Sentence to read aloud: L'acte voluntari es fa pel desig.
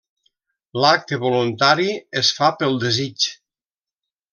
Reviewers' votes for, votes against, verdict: 3, 0, accepted